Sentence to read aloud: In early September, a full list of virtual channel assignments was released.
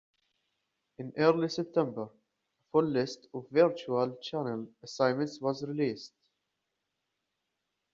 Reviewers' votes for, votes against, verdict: 2, 1, accepted